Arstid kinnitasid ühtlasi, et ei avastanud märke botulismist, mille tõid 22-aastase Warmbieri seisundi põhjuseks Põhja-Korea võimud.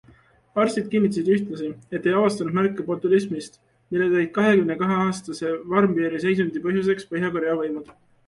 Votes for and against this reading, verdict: 0, 2, rejected